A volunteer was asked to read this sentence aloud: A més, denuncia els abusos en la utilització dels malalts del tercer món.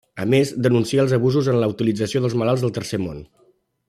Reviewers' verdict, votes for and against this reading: accepted, 2, 0